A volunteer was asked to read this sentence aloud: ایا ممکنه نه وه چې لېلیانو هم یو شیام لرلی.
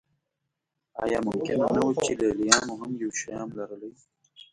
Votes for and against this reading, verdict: 1, 2, rejected